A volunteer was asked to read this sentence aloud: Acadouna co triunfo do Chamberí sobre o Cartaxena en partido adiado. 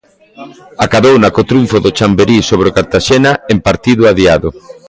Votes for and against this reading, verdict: 2, 0, accepted